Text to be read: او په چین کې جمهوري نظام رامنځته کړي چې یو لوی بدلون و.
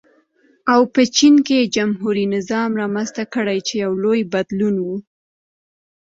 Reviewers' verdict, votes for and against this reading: accepted, 2, 0